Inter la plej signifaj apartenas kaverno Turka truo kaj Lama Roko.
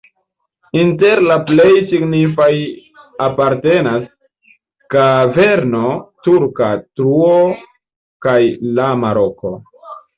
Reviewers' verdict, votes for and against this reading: accepted, 2, 0